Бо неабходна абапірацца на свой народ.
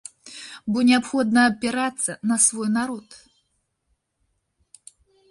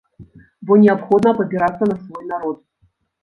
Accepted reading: first